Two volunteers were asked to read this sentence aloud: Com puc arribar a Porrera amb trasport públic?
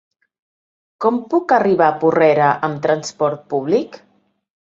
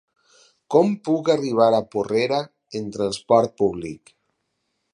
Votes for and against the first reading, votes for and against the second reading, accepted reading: 5, 1, 2, 4, first